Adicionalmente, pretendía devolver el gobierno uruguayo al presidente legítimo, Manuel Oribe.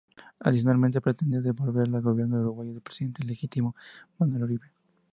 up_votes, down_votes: 2, 0